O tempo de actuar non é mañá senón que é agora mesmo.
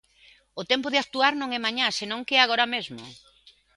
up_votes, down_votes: 3, 0